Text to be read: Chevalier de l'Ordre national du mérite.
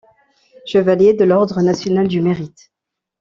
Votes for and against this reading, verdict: 2, 0, accepted